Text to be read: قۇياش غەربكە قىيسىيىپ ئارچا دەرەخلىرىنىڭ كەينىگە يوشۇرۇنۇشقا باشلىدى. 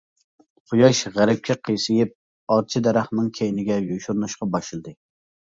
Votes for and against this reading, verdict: 0, 2, rejected